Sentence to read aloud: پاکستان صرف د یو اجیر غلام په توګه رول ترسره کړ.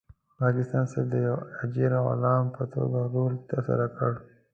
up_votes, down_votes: 2, 0